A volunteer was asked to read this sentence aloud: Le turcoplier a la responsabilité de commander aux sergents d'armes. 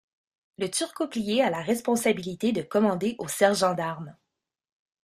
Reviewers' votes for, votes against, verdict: 2, 0, accepted